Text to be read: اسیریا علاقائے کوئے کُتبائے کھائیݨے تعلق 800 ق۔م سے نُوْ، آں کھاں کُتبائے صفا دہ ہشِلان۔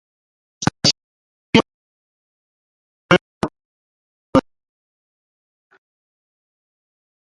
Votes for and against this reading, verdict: 0, 2, rejected